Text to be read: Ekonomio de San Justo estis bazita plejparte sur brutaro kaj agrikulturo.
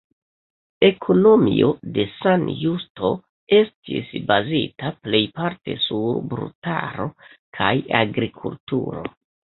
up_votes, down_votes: 1, 2